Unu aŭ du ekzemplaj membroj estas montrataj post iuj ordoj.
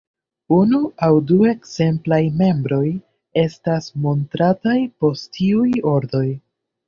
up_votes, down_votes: 2, 1